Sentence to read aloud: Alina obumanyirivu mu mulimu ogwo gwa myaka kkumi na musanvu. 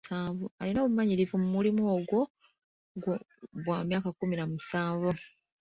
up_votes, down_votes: 1, 2